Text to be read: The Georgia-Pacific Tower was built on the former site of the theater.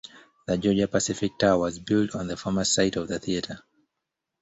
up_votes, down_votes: 1, 2